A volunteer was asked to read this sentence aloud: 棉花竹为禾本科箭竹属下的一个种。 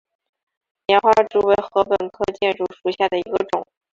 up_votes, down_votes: 1, 2